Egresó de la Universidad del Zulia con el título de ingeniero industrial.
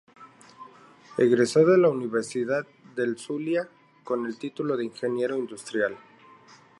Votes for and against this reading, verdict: 2, 0, accepted